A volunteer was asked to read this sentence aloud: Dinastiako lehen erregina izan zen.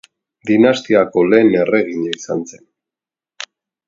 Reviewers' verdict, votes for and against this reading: accepted, 2, 0